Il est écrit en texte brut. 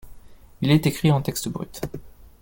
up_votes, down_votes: 2, 0